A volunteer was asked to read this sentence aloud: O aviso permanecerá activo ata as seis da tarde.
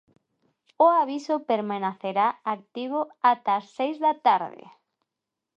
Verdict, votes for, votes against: rejected, 0, 2